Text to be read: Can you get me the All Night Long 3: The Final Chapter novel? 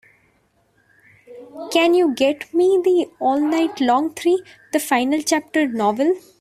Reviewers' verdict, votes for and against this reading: rejected, 0, 2